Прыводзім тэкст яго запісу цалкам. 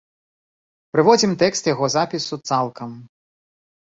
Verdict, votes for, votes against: accepted, 2, 0